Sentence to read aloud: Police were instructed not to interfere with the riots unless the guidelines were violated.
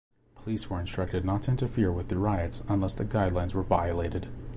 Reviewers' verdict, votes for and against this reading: accepted, 2, 0